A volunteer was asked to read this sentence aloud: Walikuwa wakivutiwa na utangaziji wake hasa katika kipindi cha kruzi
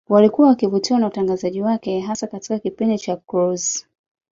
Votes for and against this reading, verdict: 1, 2, rejected